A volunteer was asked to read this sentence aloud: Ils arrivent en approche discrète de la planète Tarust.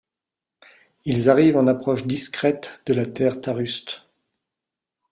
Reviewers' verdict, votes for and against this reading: rejected, 1, 2